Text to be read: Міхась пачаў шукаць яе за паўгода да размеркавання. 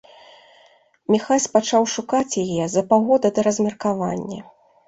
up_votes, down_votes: 2, 0